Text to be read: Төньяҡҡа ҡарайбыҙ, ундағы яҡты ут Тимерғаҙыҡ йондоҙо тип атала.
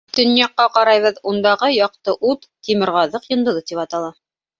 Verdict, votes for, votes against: accepted, 2, 0